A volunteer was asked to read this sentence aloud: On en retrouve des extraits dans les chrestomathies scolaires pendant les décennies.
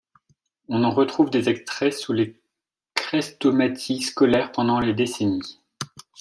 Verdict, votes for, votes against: rejected, 0, 2